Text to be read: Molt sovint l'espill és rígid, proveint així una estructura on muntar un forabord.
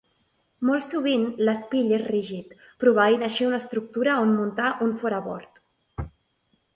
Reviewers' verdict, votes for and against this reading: accepted, 2, 0